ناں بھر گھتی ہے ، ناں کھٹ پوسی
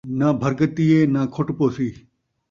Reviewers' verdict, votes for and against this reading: accepted, 2, 0